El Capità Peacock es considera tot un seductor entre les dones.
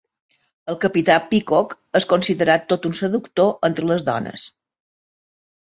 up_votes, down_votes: 2, 3